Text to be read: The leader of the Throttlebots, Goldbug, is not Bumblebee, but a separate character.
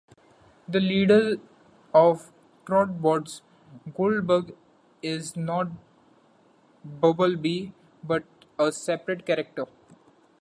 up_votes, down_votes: 1, 2